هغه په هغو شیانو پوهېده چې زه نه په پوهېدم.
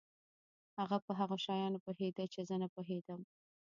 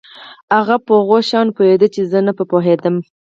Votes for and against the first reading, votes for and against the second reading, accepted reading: 0, 2, 4, 0, second